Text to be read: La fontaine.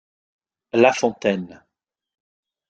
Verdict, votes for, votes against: accepted, 2, 0